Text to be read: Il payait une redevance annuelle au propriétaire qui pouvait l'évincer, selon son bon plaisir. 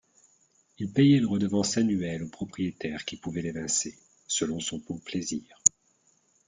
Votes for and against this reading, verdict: 2, 0, accepted